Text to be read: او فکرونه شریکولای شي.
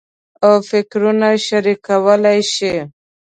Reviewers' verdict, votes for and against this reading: accepted, 3, 0